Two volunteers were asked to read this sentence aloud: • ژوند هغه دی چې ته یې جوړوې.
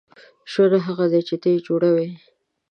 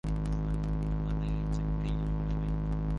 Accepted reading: first